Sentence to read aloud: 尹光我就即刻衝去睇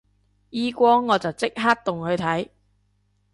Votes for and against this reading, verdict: 0, 3, rejected